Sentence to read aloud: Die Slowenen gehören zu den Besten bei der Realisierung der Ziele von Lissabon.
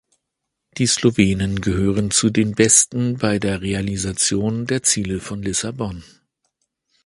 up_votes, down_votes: 0, 2